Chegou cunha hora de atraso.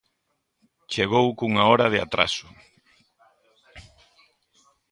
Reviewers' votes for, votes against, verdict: 0, 2, rejected